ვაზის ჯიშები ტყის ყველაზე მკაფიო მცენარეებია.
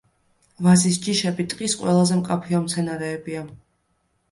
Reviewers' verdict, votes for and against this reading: accepted, 2, 0